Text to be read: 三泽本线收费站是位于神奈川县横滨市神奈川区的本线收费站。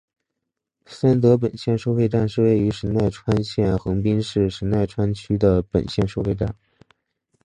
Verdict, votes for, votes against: accepted, 5, 1